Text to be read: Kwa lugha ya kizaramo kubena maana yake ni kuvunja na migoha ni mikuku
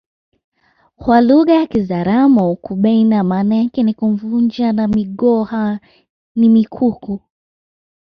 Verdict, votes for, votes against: rejected, 1, 2